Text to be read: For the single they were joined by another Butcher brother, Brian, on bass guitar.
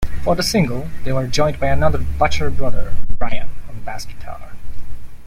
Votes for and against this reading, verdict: 0, 2, rejected